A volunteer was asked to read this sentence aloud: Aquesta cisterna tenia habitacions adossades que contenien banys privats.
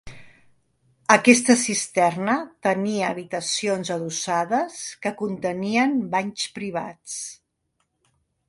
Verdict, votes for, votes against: accepted, 2, 0